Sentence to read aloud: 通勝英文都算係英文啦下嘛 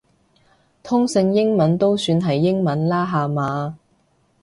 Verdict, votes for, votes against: accepted, 2, 0